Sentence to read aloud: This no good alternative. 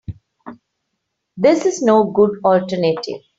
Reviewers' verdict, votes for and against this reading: rejected, 0, 3